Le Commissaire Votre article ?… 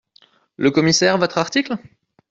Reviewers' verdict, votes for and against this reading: accepted, 2, 0